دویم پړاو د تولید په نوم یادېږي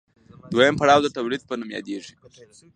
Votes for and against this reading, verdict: 2, 0, accepted